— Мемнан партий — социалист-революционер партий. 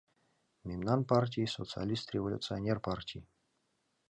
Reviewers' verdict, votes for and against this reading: accepted, 2, 0